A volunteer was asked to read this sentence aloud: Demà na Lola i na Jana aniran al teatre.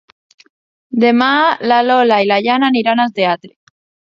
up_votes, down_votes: 0, 2